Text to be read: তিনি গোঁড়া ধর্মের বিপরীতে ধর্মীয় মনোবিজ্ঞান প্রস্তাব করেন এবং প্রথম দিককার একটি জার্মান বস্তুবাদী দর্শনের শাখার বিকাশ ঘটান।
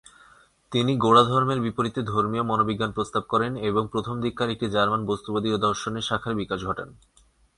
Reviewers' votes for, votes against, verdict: 0, 2, rejected